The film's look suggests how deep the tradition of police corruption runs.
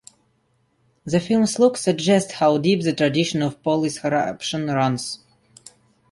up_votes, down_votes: 2, 0